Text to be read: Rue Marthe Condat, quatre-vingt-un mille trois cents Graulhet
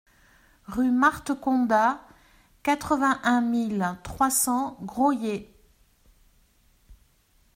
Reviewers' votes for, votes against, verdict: 2, 0, accepted